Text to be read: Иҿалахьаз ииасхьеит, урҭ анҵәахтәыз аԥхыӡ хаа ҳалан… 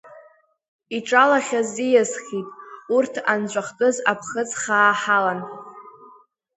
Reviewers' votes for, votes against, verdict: 2, 1, accepted